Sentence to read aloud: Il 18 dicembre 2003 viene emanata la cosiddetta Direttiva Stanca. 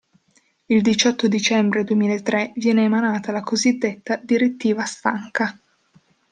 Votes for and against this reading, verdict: 0, 2, rejected